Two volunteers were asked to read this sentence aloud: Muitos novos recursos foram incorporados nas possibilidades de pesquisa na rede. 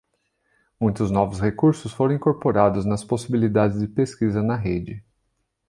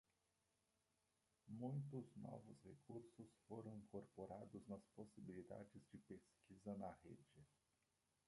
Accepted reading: first